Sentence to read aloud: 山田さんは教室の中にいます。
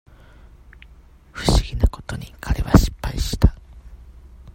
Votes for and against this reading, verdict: 0, 2, rejected